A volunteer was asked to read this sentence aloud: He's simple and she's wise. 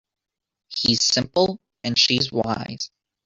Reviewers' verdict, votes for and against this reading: accepted, 2, 1